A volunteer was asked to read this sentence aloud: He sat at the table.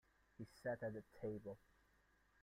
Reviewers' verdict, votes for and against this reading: rejected, 1, 2